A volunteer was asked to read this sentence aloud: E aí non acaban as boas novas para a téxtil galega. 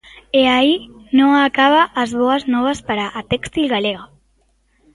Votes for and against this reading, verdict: 1, 2, rejected